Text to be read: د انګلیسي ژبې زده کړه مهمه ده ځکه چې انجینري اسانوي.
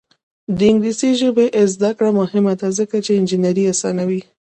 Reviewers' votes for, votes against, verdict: 2, 0, accepted